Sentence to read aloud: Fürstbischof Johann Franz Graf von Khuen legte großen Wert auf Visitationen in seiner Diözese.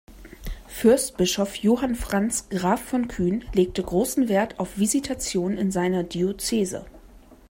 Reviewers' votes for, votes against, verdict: 1, 2, rejected